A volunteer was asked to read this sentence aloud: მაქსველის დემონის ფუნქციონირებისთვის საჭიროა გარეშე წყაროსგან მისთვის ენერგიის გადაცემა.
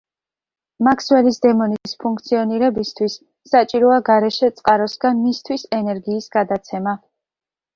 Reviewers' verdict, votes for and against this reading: accepted, 2, 0